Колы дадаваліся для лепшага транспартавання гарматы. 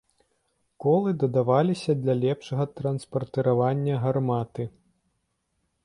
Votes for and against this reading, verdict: 0, 2, rejected